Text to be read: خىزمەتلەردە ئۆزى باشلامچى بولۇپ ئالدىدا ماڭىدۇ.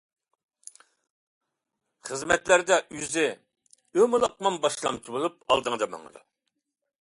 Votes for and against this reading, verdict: 0, 2, rejected